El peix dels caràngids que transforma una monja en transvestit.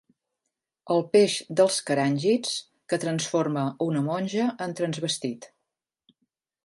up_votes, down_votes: 2, 0